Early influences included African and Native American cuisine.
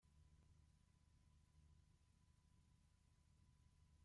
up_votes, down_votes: 0, 2